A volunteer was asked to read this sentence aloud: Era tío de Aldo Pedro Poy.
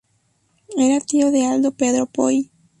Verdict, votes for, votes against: accepted, 2, 0